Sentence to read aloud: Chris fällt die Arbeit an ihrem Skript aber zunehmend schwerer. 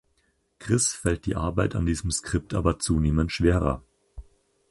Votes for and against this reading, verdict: 2, 4, rejected